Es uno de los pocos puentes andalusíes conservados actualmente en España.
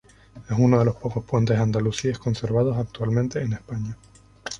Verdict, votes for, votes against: accepted, 2, 0